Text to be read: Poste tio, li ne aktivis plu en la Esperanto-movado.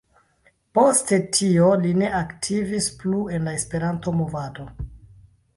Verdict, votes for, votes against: rejected, 1, 2